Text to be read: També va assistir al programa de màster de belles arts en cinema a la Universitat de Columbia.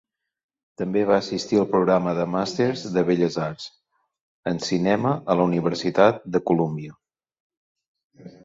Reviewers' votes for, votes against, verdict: 0, 2, rejected